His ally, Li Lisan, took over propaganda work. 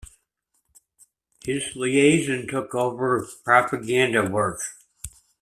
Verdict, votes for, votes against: rejected, 0, 2